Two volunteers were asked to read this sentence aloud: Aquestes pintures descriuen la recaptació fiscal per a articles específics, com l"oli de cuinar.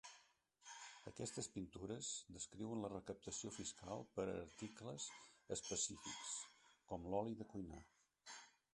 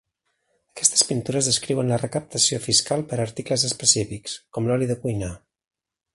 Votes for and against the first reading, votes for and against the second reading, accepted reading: 2, 3, 2, 1, second